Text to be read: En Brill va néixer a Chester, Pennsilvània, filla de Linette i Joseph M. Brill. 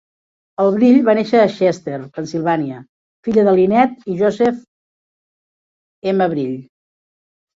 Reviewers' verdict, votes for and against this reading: rejected, 1, 2